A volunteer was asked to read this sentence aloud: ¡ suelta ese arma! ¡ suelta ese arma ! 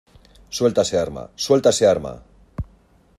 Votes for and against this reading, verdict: 2, 0, accepted